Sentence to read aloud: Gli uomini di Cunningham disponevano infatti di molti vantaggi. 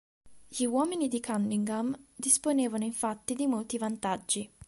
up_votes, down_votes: 2, 0